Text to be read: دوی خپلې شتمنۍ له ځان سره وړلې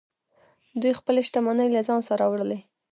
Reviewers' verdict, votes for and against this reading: rejected, 0, 2